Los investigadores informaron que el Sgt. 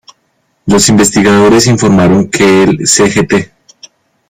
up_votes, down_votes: 0, 2